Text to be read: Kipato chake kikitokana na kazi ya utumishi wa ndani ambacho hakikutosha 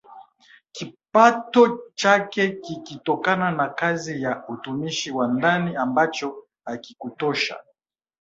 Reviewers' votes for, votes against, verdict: 4, 1, accepted